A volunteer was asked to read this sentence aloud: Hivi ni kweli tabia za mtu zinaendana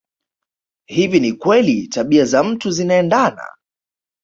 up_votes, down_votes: 2, 0